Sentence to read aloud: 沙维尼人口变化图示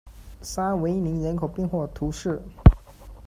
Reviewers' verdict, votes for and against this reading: accepted, 2, 0